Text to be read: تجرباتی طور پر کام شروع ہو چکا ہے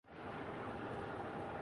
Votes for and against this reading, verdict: 1, 3, rejected